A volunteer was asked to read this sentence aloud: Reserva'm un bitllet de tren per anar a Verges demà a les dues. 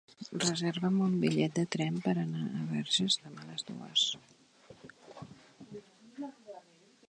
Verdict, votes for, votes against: accepted, 3, 0